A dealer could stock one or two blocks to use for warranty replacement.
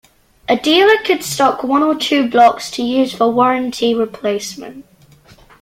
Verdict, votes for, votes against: accepted, 2, 0